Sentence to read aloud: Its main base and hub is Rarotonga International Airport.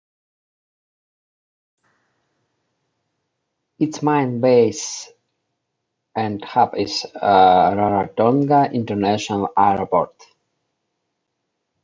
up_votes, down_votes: 1, 3